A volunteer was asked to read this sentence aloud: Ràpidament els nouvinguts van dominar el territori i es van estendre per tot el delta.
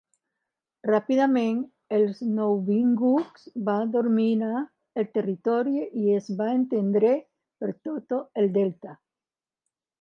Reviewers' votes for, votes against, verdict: 0, 2, rejected